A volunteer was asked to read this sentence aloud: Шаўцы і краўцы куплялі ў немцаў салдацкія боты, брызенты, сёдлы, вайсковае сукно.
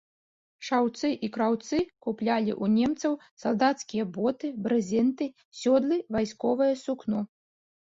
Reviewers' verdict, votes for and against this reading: accepted, 2, 0